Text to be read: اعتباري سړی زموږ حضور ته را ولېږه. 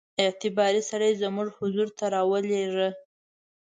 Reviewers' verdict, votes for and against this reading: accepted, 2, 0